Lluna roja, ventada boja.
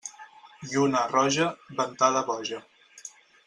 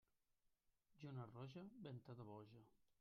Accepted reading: first